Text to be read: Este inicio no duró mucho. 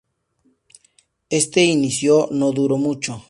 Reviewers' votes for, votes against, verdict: 4, 2, accepted